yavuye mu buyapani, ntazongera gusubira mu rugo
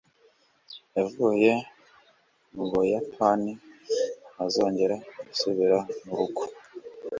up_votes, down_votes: 2, 0